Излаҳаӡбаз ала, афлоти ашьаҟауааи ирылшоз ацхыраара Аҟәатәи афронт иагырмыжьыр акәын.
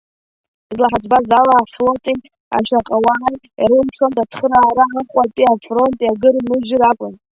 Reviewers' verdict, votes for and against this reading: rejected, 1, 2